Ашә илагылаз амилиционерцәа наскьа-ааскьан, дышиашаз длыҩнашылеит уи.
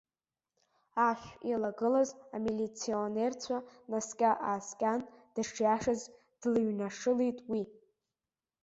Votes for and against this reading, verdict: 2, 0, accepted